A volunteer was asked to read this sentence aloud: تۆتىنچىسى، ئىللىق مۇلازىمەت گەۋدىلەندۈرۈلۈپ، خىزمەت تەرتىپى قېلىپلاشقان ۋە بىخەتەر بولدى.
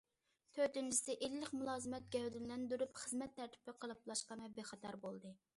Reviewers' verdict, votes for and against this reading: rejected, 0, 2